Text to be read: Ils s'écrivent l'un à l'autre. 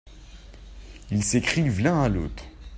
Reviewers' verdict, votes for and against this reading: accepted, 2, 0